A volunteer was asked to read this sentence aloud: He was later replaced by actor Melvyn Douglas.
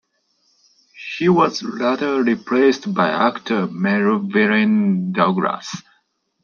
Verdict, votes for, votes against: rejected, 0, 2